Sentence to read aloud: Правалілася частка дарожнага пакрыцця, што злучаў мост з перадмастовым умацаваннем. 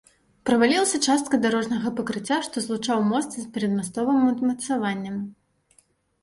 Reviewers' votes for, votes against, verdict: 2, 0, accepted